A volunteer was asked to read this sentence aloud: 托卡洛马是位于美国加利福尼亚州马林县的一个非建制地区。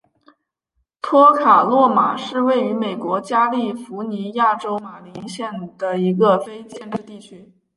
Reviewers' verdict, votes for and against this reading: accepted, 3, 2